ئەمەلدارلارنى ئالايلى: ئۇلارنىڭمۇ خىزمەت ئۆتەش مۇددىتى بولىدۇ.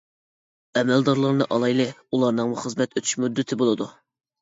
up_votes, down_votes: 2, 0